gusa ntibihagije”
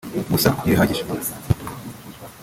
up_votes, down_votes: 1, 2